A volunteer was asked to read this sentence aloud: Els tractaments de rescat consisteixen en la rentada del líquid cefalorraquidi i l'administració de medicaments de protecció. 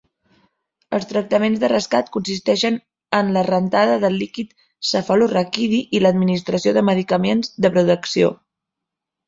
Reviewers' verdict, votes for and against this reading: rejected, 1, 2